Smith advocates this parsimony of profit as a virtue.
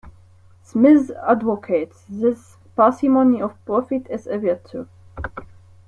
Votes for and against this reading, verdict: 0, 2, rejected